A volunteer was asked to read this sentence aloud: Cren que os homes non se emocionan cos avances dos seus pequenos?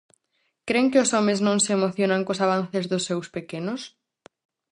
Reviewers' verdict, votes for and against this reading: accepted, 4, 0